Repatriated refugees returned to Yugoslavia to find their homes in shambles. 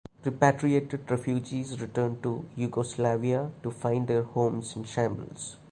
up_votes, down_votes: 2, 1